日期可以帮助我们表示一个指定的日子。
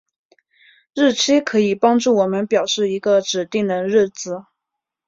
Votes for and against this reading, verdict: 5, 0, accepted